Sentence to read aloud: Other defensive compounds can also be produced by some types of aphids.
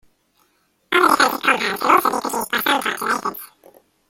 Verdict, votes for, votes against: rejected, 0, 2